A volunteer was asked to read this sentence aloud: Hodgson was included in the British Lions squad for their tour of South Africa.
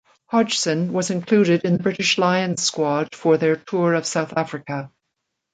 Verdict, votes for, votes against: rejected, 1, 2